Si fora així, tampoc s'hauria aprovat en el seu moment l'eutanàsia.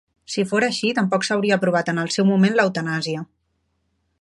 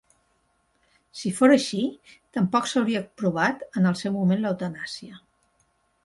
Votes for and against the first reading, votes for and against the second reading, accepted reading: 2, 0, 1, 2, first